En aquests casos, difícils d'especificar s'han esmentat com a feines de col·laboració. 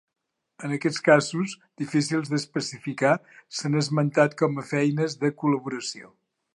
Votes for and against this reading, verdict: 3, 0, accepted